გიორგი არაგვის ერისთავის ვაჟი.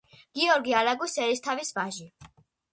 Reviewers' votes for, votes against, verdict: 2, 0, accepted